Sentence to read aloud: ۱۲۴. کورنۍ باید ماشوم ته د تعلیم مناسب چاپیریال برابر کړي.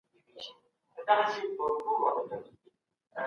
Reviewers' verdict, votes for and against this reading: rejected, 0, 2